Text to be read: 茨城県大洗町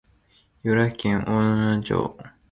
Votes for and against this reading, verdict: 0, 4, rejected